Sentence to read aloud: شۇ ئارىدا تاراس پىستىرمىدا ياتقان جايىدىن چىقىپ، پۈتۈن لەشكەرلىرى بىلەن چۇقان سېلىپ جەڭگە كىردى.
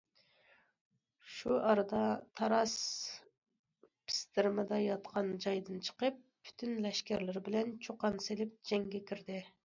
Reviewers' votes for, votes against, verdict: 2, 0, accepted